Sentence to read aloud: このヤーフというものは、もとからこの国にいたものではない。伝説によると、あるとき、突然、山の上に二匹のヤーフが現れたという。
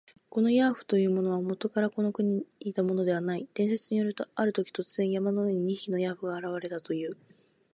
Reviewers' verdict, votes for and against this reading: accepted, 2, 0